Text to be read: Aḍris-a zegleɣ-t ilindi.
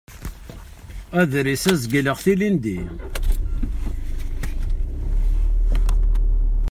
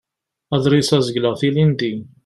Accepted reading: second